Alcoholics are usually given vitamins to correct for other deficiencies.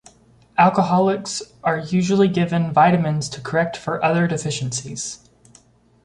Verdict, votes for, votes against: accepted, 2, 0